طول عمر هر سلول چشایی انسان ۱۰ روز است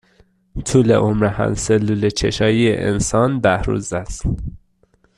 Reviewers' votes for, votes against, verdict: 0, 2, rejected